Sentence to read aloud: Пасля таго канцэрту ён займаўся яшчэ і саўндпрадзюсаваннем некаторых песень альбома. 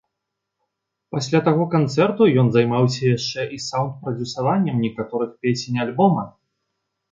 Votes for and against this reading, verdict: 2, 0, accepted